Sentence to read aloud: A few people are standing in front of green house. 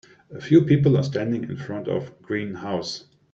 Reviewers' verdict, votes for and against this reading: accepted, 2, 0